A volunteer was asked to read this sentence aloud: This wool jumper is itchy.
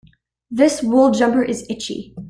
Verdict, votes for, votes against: accepted, 2, 0